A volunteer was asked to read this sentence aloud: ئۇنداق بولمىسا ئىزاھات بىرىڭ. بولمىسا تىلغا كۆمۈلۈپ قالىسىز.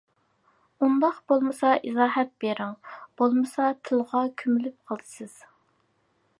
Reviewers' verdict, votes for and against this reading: accepted, 2, 0